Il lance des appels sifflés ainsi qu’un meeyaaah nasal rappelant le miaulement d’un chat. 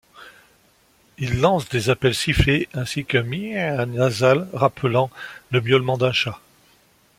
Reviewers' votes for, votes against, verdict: 2, 0, accepted